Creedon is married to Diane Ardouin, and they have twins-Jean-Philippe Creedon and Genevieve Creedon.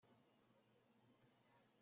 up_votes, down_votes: 0, 2